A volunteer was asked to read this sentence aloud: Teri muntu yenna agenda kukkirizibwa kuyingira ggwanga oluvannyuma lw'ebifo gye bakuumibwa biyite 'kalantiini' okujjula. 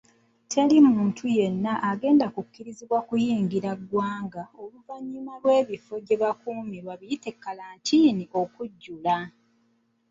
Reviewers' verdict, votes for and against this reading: rejected, 1, 2